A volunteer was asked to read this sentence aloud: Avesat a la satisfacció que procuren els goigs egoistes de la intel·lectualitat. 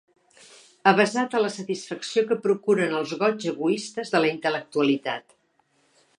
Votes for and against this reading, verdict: 2, 0, accepted